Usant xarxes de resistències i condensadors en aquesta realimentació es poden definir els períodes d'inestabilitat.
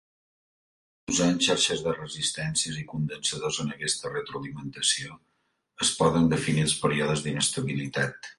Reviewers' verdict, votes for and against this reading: rejected, 0, 2